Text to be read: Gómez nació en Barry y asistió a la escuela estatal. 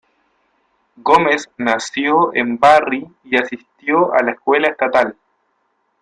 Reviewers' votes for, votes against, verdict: 2, 0, accepted